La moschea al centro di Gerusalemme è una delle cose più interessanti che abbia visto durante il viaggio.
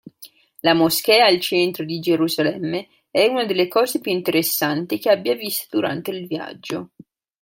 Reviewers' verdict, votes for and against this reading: accepted, 2, 1